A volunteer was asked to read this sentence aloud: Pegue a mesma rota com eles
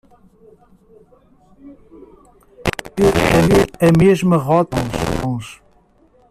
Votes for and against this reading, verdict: 0, 2, rejected